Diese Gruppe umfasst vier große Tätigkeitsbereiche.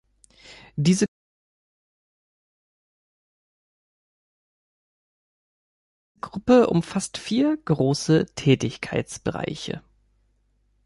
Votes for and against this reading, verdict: 0, 2, rejected